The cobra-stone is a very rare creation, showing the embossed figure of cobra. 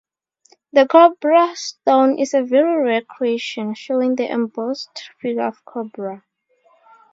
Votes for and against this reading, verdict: 0, 2, rejected